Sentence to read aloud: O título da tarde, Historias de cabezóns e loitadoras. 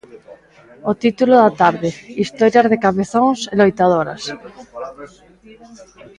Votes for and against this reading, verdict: 2, 0, accepted